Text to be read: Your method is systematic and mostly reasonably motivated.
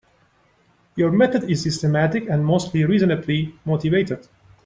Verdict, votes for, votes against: accepted, 3, 0